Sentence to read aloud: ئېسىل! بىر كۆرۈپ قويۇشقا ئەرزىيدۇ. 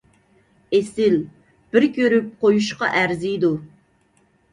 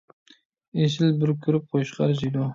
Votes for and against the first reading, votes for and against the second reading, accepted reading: 2, 0, 1, 2, first